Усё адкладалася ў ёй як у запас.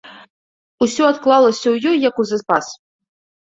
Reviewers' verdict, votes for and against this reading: rejected, 1, 2